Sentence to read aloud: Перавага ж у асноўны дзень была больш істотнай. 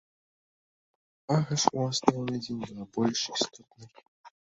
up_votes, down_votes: 0, 2